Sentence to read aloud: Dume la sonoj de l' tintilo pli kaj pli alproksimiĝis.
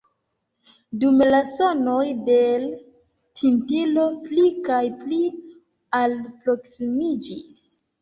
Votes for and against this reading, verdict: 2, 0, accepted